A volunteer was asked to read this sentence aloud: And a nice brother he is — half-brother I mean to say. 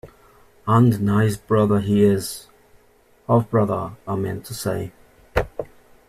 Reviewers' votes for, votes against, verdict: 1, 2, rejected